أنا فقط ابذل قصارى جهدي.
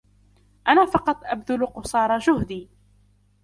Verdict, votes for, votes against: accepted, 2, 0